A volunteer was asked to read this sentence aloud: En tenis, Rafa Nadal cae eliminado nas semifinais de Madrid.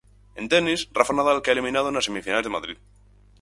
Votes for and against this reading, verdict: 4, 0, accepted